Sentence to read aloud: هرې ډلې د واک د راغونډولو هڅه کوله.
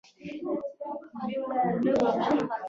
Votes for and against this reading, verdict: 0, 2, rejected